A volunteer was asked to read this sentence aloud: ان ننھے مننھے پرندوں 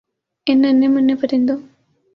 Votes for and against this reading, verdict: 12, 0, accepted